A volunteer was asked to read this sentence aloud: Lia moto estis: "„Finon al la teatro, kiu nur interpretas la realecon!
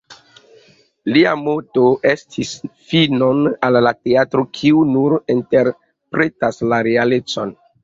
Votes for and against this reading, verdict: 2, 0, accepted